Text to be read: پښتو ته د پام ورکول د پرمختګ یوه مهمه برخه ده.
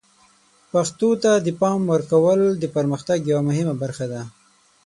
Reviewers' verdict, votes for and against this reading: accepted, 12, 3